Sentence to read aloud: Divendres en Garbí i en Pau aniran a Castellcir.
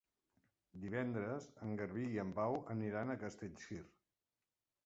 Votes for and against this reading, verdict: 3, 0, accepted